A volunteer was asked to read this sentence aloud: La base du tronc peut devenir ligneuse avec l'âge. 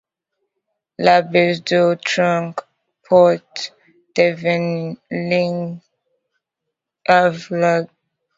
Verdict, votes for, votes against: rejected, 0, 2